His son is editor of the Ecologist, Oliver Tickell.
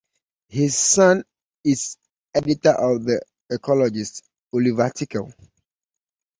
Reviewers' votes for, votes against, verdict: 2, 0, accepted